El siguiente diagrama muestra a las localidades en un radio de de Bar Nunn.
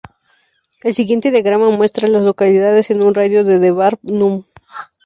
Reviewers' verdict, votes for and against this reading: accepted, 2, 0